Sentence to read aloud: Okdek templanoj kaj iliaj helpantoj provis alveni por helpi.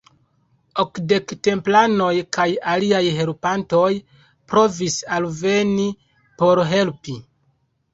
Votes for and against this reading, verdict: 1, 2, rejected